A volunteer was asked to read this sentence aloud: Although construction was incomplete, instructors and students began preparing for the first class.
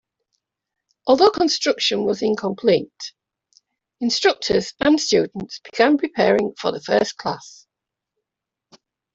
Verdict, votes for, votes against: rejected, 1, 2